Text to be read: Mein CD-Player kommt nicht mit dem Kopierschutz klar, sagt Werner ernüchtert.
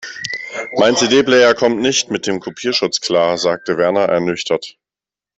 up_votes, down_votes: 0, 2